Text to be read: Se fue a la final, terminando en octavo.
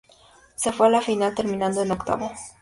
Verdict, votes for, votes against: accepted, 2, 0